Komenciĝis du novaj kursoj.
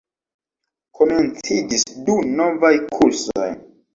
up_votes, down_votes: 0, 2